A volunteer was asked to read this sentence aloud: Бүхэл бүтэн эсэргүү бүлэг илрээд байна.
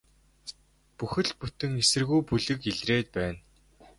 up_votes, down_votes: 2, 0